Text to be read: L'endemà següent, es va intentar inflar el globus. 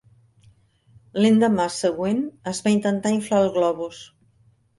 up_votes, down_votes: 3, 1